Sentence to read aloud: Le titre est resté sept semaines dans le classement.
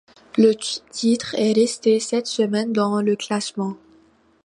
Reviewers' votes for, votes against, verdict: 2, 1, accepted